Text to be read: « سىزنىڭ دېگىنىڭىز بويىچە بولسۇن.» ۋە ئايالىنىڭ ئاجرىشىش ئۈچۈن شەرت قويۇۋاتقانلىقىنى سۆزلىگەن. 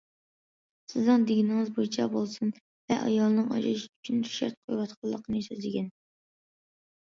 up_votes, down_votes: 2, 1